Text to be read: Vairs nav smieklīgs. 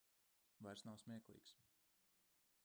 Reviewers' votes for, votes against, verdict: 0, 2, rejected